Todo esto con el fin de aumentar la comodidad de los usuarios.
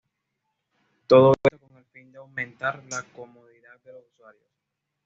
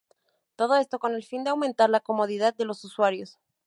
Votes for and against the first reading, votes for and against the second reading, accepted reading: 1, 2, 4, 0, second